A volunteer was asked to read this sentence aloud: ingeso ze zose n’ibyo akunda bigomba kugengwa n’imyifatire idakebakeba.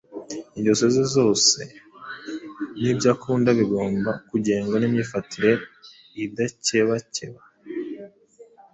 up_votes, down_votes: 2, 0